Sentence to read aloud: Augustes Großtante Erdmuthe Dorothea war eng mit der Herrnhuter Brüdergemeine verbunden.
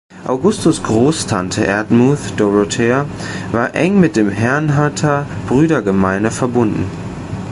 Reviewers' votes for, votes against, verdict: 1, 2, rejected